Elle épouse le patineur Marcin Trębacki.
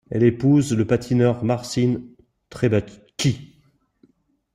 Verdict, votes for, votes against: accepted, 2, 0